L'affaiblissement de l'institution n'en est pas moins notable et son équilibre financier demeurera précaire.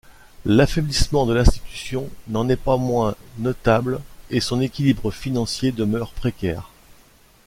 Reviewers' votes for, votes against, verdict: 1, 2, rejected